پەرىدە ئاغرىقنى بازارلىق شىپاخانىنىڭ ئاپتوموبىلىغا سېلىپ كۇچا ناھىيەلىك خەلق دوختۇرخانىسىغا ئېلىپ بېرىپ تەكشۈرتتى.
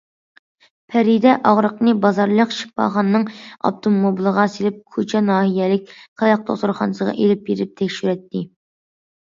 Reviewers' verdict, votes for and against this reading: accepted, 2, 0